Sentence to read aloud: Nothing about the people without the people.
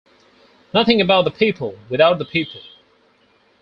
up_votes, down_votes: 4, 0